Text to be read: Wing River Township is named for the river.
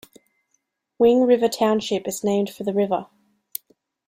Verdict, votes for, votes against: accepted, 2, 0